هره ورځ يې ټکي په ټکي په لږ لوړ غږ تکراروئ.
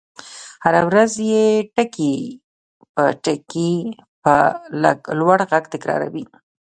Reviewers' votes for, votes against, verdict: 1, 2, rejected